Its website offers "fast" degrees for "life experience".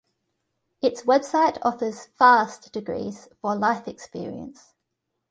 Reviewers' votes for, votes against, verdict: 2, 0, accepted